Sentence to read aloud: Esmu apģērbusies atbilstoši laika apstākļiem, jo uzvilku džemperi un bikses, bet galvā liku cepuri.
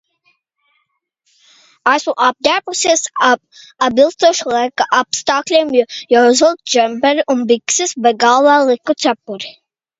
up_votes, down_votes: 1, 2